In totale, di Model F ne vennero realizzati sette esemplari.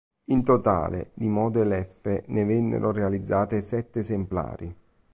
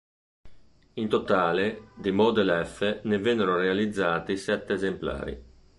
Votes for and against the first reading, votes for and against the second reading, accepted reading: 1, 2, 3, 0, second